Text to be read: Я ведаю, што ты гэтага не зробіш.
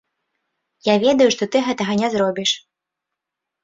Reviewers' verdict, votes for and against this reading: accepted, 2, 0